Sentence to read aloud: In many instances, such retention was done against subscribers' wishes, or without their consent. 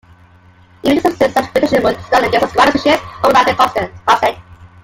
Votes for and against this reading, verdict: 0, 3, rejected